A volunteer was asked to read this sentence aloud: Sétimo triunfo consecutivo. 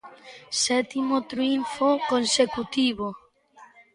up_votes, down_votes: 1, 2